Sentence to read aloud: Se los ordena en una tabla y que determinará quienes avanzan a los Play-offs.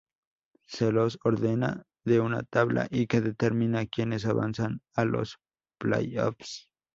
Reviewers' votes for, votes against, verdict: 0, 2, rejected